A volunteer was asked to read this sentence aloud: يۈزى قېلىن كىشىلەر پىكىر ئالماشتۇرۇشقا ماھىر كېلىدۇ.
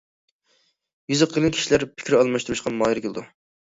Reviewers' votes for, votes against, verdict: 2, 0, accepted